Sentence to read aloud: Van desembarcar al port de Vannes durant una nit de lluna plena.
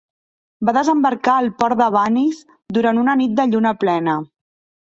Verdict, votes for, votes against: rejected, 1, 2